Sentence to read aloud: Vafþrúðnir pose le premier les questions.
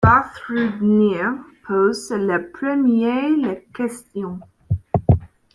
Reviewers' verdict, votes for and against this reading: accepted, 2, 0